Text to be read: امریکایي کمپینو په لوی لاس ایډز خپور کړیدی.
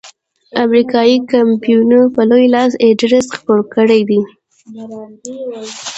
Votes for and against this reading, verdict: 0, 2, rejected